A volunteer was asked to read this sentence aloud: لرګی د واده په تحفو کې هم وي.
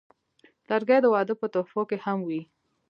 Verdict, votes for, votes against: accepted, 2, 1